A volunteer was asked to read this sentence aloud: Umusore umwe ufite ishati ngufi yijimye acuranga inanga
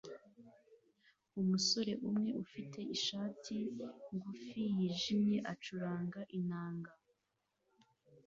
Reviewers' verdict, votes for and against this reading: accepted, 2, 0